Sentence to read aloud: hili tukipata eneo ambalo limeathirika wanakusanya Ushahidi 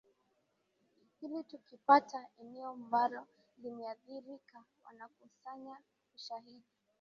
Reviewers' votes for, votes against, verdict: 1, 2, rejected